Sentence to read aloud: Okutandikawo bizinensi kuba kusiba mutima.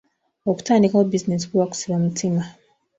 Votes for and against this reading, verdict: 2, 0, accepted